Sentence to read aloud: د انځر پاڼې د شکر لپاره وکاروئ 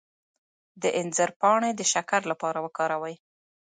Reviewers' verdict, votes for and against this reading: rejected, 0, 2